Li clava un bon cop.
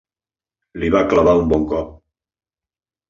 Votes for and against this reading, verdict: 0, 2, rejected